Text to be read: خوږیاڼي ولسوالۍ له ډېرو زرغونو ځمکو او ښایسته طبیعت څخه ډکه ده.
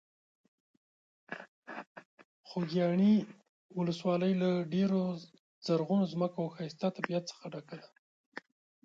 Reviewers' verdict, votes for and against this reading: rejected, 1, 2